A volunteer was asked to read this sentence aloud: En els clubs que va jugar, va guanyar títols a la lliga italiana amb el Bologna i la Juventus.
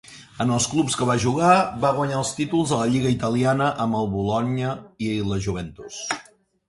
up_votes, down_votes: 1, 2